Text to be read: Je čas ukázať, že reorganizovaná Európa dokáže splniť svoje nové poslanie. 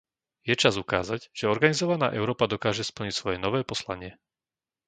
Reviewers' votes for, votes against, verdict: 0, 2, rejected